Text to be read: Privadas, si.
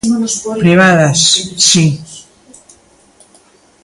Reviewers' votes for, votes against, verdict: 1, 2, rejected